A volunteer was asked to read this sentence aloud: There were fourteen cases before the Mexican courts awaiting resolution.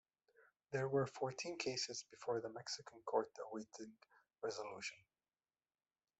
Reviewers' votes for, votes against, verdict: 2, 1, accepted